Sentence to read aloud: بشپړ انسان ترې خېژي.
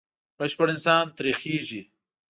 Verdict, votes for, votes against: accepted, 2, 0